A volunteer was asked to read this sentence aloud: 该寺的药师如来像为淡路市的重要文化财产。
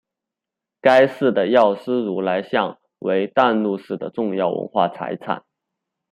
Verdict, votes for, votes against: rejected, 0, 2